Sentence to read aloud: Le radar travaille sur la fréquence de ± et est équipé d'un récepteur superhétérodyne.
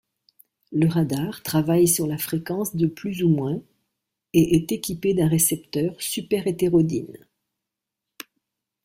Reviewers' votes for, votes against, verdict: 2, 0, accepted